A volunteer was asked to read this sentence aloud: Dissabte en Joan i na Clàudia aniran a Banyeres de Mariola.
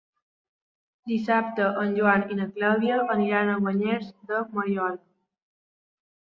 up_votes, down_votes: 1, 2